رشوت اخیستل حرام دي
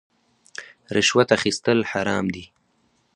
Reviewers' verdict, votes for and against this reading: accepted, 4, 0